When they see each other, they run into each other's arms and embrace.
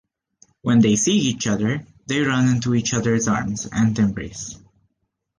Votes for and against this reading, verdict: 2, 1, accepted